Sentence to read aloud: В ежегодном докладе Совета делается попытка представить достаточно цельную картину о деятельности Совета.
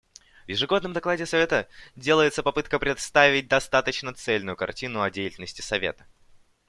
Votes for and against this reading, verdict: 2, 0, accepted